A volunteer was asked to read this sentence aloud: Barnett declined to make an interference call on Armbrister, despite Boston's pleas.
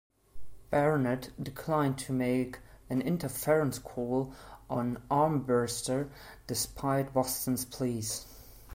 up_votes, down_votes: 2, 0